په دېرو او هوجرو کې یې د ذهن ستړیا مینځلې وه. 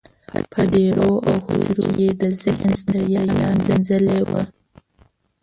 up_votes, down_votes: 1, 2